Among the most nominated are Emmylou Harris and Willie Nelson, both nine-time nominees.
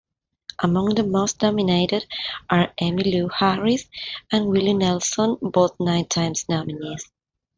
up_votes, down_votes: 0, 2